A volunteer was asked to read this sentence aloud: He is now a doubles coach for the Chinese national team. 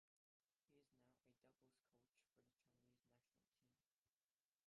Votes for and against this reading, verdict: 0, 2, rejected